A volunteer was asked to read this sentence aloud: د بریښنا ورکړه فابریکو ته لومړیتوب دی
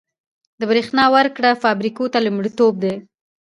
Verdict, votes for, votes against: rejected, 0, 2